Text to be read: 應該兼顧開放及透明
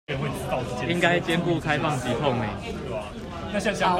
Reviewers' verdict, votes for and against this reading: rejected, 0, 2